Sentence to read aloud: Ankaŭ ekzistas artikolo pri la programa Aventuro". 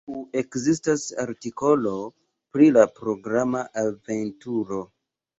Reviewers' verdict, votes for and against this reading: rejected, 1, 2